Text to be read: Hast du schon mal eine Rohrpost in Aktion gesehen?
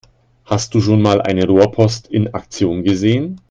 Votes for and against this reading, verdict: 2, 0, accepted